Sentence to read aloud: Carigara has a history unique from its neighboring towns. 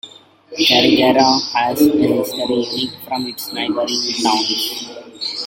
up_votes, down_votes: 0, 2